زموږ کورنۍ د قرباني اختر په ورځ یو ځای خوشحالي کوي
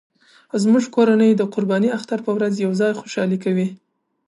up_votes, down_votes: 1, 2